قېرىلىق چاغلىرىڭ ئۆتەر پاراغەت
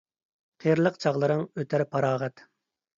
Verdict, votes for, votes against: accepted, 2, 0